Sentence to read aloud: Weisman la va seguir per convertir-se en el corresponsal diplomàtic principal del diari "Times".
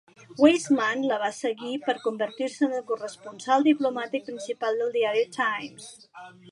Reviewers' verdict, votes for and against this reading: rejected, 1, 2